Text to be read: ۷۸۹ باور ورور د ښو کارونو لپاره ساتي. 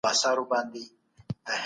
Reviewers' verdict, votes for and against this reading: rejected, 0, 2